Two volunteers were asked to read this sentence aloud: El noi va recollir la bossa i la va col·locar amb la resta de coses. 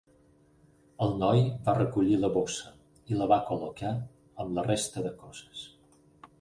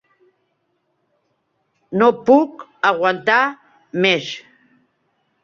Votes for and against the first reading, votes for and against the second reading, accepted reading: 6, 2, 0, 4, first